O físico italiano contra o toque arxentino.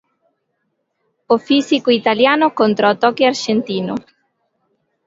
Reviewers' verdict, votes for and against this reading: accepted, 2, 0